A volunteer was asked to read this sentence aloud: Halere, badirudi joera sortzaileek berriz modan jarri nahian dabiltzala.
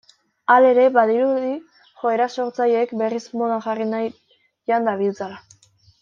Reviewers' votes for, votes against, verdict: 1, 2, rejected